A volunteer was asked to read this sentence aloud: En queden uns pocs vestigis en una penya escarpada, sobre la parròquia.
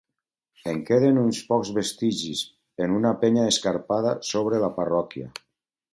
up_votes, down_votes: 2, 0